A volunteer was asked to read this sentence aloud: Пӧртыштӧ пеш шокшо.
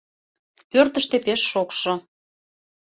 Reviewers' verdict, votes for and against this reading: accepted, 2, 0